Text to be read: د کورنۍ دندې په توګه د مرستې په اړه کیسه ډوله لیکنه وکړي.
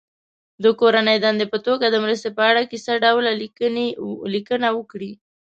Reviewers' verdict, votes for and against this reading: rejected, 0, 2